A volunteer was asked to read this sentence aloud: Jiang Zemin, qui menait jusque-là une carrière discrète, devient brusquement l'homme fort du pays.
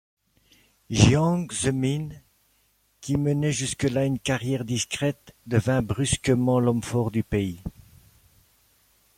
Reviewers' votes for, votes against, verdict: 2, 1, accepted